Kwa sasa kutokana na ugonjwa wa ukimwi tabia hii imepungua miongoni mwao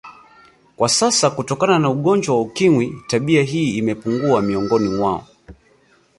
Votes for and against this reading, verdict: 1, 2, rejected